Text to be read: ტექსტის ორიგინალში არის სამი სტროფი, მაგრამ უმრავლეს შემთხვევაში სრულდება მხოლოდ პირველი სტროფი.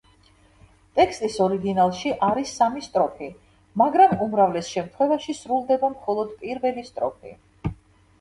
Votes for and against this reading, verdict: 2, 0, accepted